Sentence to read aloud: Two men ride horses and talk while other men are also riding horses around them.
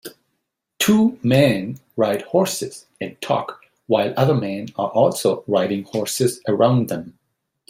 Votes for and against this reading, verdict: 2, 0, accepted